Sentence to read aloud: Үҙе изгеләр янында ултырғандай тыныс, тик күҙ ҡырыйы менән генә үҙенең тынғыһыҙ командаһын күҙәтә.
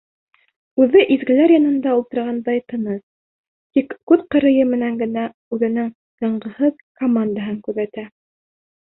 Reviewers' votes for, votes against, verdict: 1, 2, rejected